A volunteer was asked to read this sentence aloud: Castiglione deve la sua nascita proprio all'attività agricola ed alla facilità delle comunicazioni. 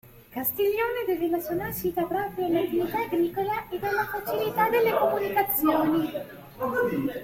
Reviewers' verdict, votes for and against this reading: rejected, 0, 2